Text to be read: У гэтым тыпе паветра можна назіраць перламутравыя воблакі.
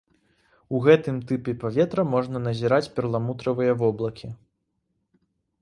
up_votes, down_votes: 2, 0